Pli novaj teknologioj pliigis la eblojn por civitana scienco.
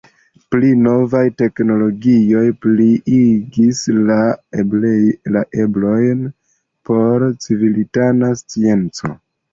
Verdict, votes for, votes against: rejected, 1, 2